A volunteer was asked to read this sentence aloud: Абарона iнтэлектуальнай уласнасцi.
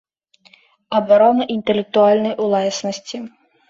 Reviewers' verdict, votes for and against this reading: accepted, 2, 0